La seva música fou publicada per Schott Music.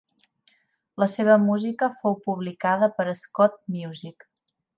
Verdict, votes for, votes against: accepted, 3, 0